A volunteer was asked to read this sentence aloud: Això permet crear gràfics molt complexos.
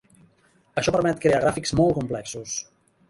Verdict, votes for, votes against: rejected, 0, 2